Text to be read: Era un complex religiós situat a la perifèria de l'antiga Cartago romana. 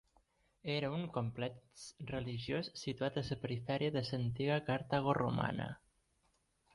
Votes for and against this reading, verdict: 1, 2, rejected